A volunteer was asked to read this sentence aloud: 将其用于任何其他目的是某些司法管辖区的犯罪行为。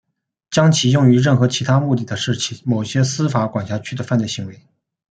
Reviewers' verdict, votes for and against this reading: accepted, 2, 0